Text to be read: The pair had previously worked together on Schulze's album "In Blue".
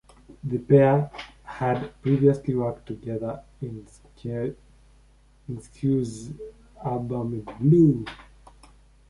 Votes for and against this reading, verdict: 1, 2, rejected